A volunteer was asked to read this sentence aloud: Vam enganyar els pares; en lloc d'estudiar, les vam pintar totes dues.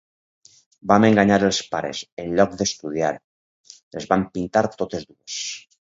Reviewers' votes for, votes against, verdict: 2, 4, rejected